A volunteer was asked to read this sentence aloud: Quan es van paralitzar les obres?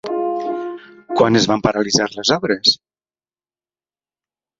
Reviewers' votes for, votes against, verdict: 1, 2, rejected